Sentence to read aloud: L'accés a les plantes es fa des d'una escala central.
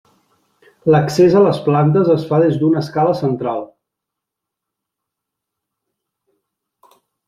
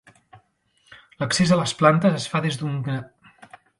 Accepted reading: first